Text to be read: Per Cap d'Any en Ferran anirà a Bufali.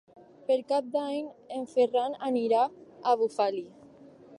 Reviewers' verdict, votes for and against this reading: accepted, 4, 0